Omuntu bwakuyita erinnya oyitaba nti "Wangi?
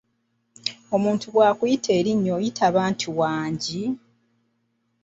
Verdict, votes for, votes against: accepted, 2, 0